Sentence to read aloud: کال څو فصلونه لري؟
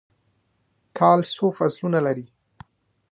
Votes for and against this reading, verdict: 2, 1, accepted